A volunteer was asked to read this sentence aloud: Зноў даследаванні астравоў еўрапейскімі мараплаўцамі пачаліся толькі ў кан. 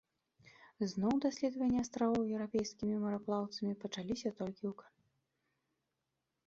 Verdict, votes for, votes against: accepted, 2, 1